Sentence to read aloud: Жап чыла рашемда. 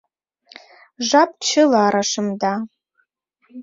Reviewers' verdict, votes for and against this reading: accepted, 2, 0